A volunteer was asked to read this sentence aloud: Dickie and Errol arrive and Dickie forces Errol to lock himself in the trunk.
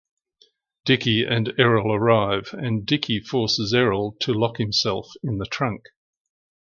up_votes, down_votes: 2, 0